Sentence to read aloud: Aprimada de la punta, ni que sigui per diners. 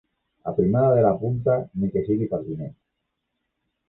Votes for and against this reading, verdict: 2, 3, rejected